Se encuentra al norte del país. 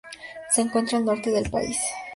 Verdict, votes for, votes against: accepted, 2, 0